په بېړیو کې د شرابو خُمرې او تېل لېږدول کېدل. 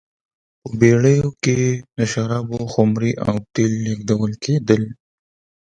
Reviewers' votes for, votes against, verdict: 2, 0, accepted